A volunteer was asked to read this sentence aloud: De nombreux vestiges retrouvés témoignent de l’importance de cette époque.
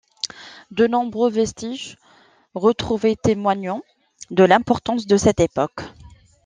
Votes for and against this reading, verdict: 0, 2, rejected